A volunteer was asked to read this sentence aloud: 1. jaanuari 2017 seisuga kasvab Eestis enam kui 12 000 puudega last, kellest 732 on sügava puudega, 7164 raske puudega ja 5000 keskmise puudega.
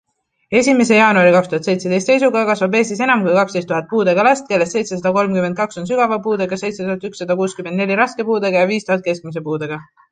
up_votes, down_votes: 0, 2